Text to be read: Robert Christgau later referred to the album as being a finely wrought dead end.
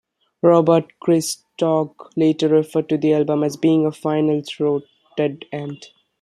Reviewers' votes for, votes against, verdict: 0, 2, rejected